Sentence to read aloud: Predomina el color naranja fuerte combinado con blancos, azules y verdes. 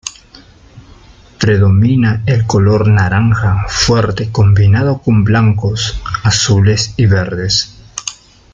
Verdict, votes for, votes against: accepted, 3, 0